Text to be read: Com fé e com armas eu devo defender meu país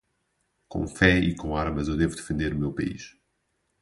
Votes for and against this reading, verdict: 0, 4, rejected